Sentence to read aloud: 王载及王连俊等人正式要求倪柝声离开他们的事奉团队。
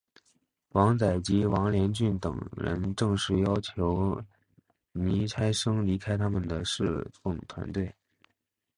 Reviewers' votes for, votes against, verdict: 3, 7, rejected